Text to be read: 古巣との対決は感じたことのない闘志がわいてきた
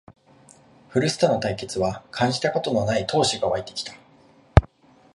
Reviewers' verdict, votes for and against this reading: accepted, 2, 0